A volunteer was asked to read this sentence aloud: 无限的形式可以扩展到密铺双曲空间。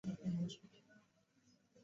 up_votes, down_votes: 1, 2